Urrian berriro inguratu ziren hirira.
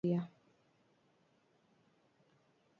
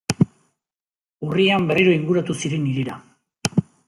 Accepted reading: second